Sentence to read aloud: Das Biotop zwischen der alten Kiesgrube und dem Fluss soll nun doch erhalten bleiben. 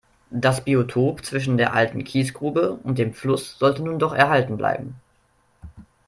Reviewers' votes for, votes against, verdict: 1, 2, rejected